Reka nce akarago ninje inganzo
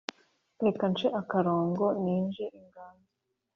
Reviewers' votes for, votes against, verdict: 0, 2, rejected